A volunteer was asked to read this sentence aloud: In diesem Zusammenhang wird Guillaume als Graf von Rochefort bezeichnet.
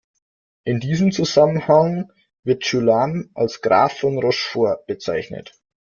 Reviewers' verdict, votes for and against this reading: rejected, 1, 2